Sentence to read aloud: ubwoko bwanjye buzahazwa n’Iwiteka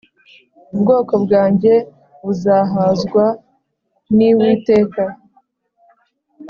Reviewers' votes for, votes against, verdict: 2, 0, accepted